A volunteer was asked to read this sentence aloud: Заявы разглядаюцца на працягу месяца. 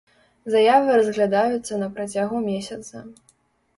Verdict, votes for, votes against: accepted, 2, 0